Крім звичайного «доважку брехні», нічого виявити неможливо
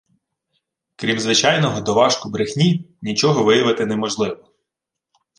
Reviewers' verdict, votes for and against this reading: accepted, 2, 0